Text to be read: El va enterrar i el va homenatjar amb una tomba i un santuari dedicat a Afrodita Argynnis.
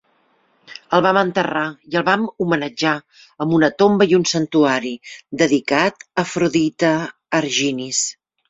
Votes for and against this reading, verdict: 0, 3, rejected